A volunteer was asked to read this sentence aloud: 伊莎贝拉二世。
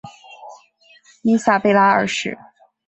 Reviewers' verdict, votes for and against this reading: accepted, 4, 0